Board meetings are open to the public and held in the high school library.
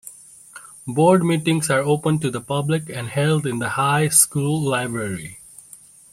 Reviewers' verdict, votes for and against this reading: accepted, 2, 0